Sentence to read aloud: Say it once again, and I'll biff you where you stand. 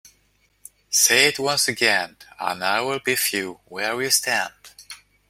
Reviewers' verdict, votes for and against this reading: rejected, 0, 2